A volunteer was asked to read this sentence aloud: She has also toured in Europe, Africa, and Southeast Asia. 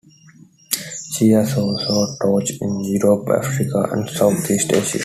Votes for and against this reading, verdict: 0, 2, rejected